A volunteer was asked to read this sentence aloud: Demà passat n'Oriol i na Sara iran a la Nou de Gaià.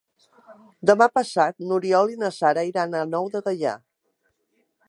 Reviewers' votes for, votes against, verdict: 0, 2, rejected